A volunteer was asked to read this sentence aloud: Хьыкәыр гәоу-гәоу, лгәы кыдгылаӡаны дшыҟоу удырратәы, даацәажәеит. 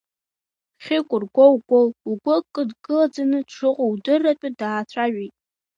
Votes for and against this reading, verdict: 1, 2, rejected